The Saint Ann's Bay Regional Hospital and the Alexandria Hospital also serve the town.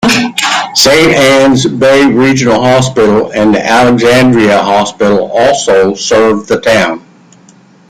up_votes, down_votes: 0, 2